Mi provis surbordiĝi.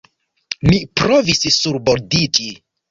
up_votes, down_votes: 1, 2